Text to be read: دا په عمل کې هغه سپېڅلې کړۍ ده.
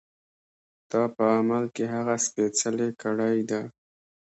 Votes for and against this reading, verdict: 2, 0, accepted